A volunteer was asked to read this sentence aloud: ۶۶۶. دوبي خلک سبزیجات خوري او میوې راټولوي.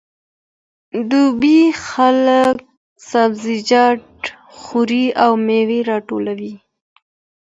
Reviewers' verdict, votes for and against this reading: rejected, 0, 2